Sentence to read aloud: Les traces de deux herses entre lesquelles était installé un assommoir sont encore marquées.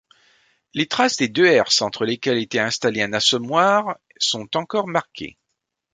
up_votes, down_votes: 1, 2